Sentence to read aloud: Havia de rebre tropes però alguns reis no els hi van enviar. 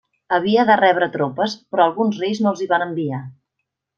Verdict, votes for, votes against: accepted, 3, 1